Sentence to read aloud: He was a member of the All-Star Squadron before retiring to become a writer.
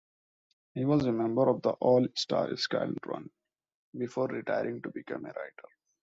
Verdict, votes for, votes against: rejected, 0, 2